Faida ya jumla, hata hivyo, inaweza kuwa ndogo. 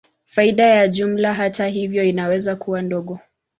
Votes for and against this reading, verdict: 2, 0, accepted